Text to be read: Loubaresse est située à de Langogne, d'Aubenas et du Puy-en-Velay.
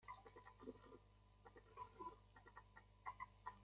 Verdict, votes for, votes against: rejected, 0, 2